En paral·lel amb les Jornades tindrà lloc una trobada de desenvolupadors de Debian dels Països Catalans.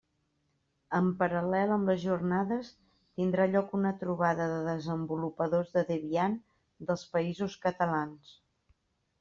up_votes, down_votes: 2, 0